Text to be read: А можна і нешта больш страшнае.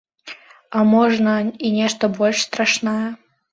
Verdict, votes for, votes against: accepted, 2, 1